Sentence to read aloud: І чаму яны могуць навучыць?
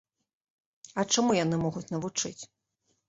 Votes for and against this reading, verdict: 0, 2, rejected